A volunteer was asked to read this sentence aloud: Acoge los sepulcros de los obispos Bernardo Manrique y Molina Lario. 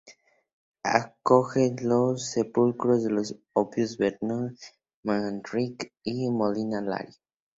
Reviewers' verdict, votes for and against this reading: accepted, 2, 0